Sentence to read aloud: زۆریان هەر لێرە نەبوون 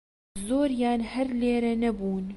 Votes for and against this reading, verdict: 2, 0, accepted